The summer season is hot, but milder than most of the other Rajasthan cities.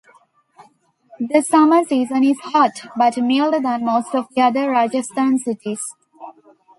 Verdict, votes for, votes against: rejected, 1, 2